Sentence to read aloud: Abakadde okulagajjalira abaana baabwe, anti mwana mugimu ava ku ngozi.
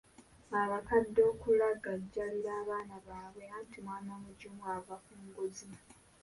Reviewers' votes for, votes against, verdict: 2, 1, accepted